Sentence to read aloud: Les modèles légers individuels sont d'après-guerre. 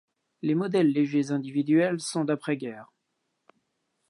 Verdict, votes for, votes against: accepted, 2, 0